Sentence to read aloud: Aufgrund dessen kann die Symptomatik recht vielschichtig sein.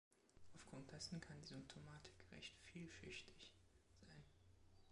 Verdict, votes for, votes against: rejected, 1, 2